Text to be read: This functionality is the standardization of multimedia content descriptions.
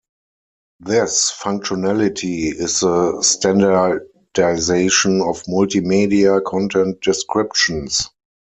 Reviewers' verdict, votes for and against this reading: rejected, 0, 4